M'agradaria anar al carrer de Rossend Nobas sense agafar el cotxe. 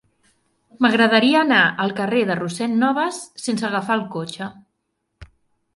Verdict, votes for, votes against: accepted, 3, 0